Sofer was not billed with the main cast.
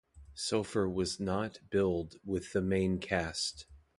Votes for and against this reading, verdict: 2, 0, accepted